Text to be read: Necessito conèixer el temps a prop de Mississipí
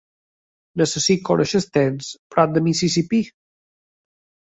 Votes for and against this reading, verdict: 0, 2, rejected